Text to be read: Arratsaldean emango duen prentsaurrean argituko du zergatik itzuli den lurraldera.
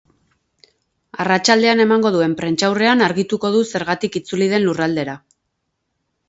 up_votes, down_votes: 4, 0